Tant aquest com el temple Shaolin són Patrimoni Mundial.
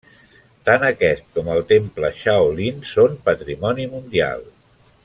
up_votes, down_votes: 3, 0